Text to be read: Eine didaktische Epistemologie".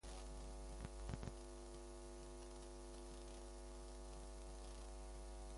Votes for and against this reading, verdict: 0, 2, rejected